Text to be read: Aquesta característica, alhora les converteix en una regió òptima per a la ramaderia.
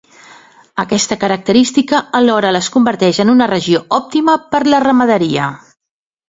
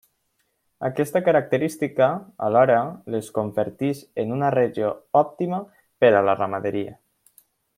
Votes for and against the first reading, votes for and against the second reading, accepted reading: 2, 1, 1, 2, first